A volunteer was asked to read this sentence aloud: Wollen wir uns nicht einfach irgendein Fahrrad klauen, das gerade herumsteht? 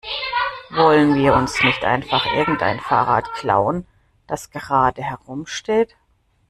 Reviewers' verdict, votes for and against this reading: rejected, 1, 2